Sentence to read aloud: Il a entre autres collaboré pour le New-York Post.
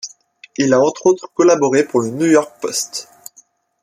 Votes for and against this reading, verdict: 2, 0, accepted